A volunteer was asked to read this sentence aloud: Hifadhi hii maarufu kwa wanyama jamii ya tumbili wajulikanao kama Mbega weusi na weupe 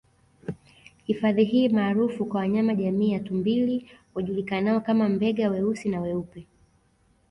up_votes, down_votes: 2, 0